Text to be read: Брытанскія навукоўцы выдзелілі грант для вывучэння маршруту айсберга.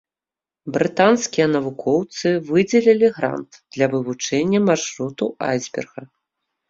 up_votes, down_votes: 2, 1